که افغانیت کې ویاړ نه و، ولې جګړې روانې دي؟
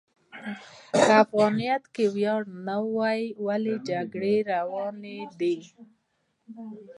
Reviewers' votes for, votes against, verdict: 2, 0, accepted